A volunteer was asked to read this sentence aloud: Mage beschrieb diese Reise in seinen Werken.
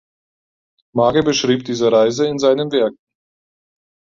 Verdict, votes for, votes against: rejected, 2, 4